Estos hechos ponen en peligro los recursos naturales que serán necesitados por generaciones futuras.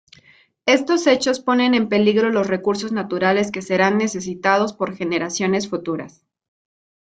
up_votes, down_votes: 2, 0